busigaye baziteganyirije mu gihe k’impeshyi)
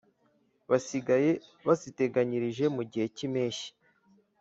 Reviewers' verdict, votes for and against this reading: rejected, 1, 2